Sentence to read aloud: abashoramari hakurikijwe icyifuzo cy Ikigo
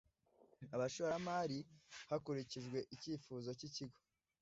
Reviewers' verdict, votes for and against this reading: rejected, 1, 2